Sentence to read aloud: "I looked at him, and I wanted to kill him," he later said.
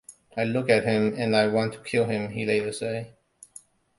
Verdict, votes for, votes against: rejected, 0, 2